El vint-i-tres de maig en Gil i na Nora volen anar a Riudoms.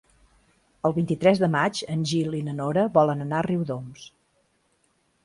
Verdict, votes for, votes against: accepted, 2, 0